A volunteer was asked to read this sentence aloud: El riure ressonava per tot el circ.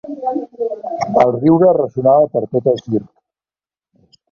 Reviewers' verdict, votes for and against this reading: rejected, 0, 2